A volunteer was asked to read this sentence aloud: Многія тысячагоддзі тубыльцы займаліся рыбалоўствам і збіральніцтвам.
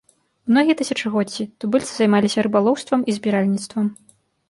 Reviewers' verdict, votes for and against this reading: accepted, 2, 0